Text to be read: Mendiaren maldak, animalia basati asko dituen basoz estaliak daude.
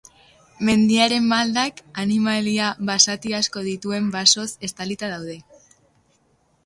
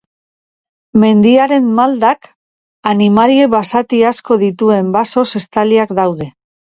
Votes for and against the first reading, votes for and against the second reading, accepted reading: 0, 2, 2, 0, second